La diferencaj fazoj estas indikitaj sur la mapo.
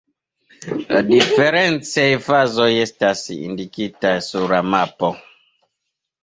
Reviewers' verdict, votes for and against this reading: rejected, 1, 2